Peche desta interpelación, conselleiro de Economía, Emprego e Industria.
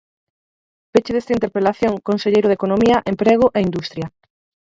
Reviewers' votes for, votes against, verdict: 0, 4, rejected